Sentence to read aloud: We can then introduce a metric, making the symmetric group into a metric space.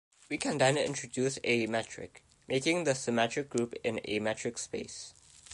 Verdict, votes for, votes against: rejected, 0, 2